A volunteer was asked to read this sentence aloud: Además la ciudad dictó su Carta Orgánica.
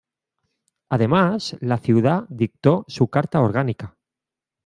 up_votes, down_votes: 2, 0